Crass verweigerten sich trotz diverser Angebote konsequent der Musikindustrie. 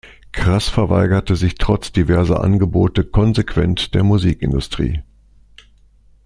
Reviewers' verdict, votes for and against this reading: rejected, 0, 2